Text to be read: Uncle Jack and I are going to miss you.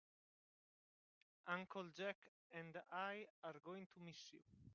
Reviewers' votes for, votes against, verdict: 0, 2, rejected